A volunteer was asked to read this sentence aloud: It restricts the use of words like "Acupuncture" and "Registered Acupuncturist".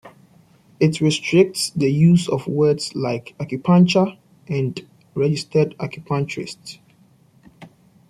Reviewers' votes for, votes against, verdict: 2, 0, accepted